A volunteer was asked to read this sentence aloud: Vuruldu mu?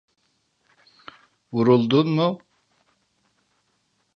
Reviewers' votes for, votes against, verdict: 0, 2, rejected